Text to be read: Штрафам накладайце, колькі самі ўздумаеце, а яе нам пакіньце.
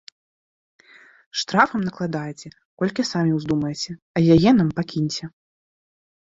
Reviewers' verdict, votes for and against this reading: accepted, 2, 0